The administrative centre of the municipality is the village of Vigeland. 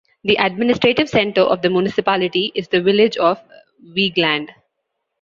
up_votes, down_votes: 2, 0